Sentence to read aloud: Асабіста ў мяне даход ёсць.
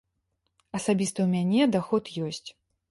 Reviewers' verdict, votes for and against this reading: accepted, 2, 0